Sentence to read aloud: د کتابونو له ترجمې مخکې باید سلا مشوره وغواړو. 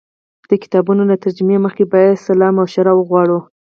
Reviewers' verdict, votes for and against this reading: rejected, 2, 4